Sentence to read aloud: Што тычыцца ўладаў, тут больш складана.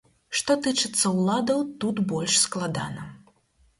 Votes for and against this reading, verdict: 4, 0, accepted